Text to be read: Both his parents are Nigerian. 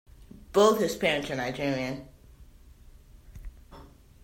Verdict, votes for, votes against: accepted, 2, 0